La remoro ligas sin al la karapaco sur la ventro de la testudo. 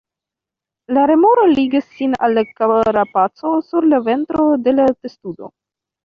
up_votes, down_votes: 1, 2